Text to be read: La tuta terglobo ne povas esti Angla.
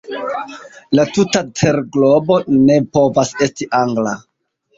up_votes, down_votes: 2, 1